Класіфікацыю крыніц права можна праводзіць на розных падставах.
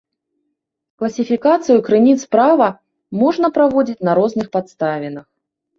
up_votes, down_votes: 1, 2